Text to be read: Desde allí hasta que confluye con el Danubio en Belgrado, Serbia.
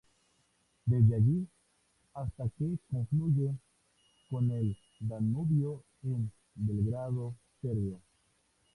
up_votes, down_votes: 0, 2